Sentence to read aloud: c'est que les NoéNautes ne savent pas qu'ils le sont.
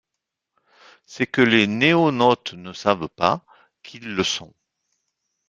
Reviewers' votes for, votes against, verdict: 1, 2, rejected